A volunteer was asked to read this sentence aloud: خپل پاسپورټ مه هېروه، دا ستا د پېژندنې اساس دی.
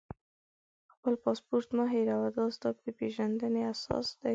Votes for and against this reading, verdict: 2, 1, accepted